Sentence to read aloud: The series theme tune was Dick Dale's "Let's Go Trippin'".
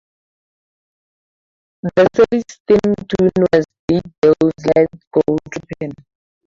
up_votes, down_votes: 0, 2